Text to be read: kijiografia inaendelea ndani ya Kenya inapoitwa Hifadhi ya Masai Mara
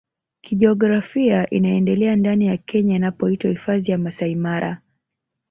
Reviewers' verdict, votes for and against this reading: accepted, 2, 1